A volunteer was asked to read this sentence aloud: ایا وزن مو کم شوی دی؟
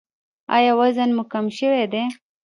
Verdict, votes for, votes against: rejected, 1, 2